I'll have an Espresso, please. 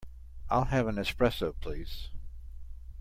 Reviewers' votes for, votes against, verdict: 2, 0, accepted